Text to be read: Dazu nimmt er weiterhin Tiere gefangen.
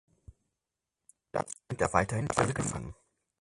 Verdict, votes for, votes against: rejected, 0, 4